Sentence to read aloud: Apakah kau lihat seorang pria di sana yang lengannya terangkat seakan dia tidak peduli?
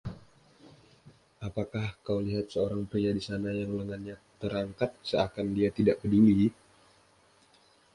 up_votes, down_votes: 2, 0